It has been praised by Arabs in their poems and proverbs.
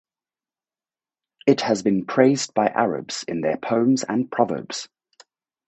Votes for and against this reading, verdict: 4, 0, accepted